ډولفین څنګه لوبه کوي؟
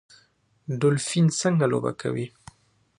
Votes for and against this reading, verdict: 2, 1, accepted